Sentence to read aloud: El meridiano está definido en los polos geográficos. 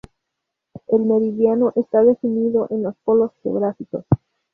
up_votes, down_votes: 0, 2